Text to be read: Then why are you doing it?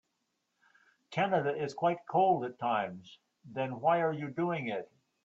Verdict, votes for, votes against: rejected, 0, 3